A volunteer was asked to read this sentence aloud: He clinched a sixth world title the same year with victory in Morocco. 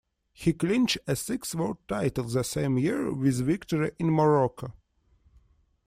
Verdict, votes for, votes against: rejected, 1, 2